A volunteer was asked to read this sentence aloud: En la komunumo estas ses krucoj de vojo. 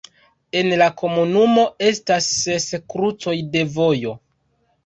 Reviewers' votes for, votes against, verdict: 1, 2, rejected